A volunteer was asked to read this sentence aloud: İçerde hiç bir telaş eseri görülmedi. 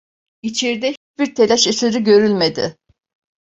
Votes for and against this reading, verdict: 1, 2, rejected